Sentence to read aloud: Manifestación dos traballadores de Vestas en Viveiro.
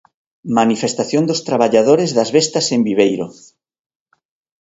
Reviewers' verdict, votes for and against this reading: rejected, 1, 2